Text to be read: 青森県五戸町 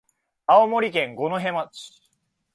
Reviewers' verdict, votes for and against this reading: accepted, 2, 0